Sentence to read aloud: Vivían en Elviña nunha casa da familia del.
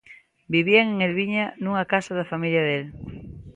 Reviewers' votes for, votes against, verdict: 2, 0, accepted